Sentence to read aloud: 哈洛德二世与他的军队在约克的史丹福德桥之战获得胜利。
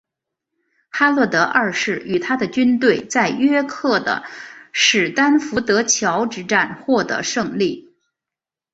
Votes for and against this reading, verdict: 3, 2, accepted